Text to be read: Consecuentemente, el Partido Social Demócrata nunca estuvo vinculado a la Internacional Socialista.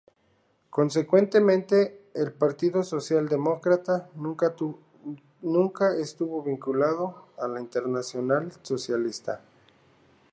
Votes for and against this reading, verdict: 0, 2, rejected